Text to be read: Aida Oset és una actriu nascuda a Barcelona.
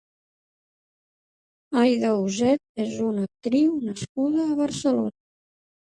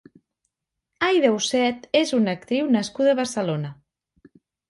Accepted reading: second